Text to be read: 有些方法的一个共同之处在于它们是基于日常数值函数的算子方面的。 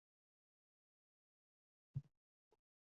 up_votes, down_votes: 0, 3